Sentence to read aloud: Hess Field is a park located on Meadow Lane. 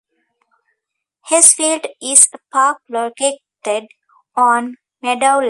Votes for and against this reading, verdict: 0, 2, rejected